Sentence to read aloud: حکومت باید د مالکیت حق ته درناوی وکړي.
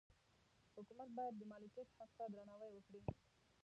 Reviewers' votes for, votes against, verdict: 0, 2, rejected